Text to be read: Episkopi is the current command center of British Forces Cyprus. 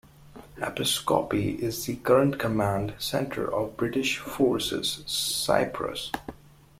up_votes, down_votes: 1, 2